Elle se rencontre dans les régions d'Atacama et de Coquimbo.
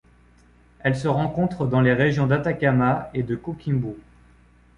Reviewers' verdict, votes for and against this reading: accepted, 2, 0